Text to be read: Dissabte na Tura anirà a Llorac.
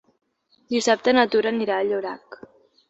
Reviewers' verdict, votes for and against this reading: accepted, 3, 0